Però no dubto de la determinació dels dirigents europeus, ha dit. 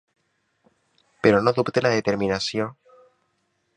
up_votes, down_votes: 0, 2